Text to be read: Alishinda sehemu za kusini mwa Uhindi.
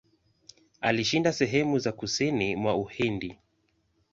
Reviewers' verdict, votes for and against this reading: rejected, 1, 2